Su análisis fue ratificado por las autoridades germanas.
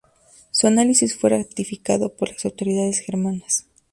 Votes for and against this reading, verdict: 2, 0, accepted